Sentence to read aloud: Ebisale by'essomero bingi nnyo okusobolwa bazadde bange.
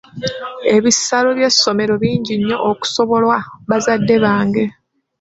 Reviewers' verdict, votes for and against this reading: rejected, 1, 2